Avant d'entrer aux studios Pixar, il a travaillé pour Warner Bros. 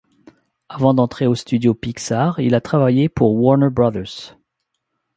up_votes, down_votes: 1, 2